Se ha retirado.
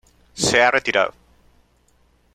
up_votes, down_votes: 2, 0